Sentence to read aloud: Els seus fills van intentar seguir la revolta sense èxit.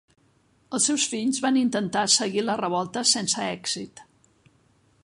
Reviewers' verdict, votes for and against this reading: rejected, 1, 2